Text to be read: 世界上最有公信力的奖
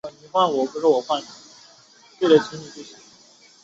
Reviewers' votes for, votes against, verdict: 0, 2, rejected